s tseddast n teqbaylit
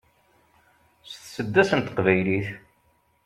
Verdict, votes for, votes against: accepted, 2, 0